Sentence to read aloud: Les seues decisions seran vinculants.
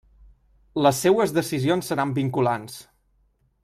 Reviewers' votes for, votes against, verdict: 3, 0, accepted